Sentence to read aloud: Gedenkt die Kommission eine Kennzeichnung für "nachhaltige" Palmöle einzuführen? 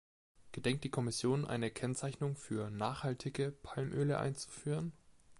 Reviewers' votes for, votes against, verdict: 3, 0, accepted